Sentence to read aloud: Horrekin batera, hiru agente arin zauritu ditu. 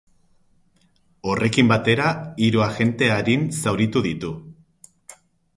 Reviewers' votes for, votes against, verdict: 6, 0, accepted